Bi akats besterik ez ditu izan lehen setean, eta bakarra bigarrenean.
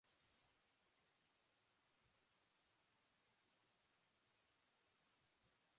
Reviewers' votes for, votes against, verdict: 0, 2, rejected